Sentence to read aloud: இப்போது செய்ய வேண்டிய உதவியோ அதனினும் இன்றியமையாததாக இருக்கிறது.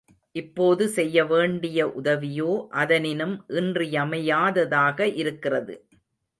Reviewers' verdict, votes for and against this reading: accepted, 2, 0